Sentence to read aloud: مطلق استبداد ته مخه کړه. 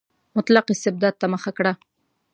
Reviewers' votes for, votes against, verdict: 2, 0, accepted